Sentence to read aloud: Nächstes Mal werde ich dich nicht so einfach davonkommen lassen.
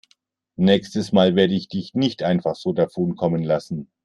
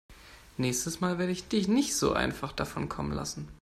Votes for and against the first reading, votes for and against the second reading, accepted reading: 1, 2, 2, 0, second